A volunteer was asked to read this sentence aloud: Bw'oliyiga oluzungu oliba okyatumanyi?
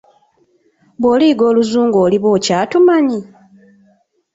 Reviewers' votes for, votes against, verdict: 2, 0, accepted